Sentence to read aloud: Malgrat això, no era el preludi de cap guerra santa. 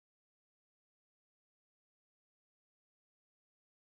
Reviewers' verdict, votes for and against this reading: rejected, 0, 4